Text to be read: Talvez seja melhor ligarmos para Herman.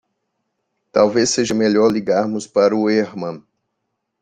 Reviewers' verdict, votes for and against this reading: rejected, 0, 2